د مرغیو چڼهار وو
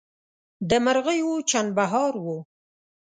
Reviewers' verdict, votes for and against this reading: rejected, 0, 2